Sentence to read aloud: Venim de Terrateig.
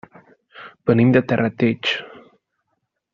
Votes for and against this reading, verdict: 3, 0, accepted